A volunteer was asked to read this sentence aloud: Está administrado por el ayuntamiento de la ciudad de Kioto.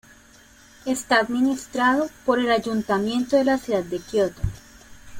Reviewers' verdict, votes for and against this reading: rejected, 1, 2